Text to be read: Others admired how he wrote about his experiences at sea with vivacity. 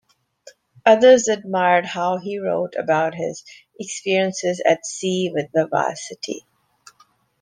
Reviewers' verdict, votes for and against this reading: rejected, 1, 2